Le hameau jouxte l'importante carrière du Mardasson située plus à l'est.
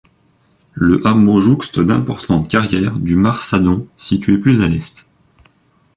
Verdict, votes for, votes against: rejected, 0, 2